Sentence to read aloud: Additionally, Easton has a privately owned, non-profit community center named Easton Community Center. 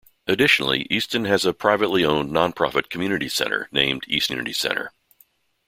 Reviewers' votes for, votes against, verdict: 0, 2, rejected